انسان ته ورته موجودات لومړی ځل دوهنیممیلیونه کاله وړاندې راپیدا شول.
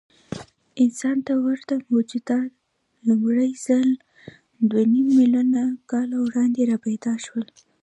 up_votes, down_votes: 2, 1